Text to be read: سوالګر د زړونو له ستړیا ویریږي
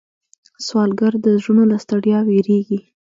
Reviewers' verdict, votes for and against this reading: rejected, 0, 2